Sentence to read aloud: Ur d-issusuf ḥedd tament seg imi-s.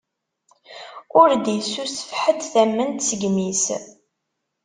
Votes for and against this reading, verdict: 1, 2, rejected